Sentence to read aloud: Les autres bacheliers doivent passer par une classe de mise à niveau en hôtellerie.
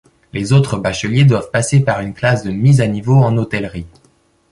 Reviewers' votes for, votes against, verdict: 2, 1, accepted